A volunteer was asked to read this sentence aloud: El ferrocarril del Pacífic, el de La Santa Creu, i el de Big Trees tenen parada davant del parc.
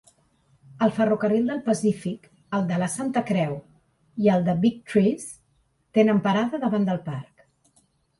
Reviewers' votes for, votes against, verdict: 3, 0, accepted